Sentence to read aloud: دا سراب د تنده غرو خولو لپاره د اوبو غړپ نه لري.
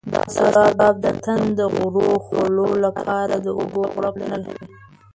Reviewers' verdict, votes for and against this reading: rejected, 1, 2